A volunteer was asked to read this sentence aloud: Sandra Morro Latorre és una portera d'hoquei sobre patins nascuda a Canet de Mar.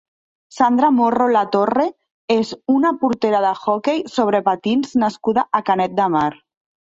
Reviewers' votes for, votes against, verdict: 0, 2, rejected